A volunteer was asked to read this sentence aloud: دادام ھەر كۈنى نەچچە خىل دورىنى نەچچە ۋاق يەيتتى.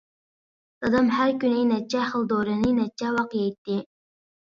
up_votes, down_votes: 2, 0